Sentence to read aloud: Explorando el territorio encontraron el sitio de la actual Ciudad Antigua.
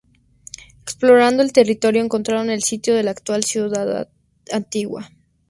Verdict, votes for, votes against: rejected, 2, 2